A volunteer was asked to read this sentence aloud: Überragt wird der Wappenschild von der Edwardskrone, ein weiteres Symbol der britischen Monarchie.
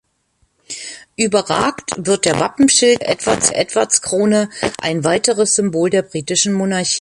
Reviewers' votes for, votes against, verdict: 0, 2, rejected